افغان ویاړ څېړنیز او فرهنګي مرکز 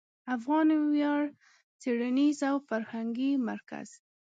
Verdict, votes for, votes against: accepted, 2, 0